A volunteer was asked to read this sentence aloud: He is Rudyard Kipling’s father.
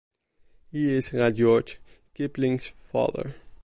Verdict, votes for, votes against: accepted, 2, 0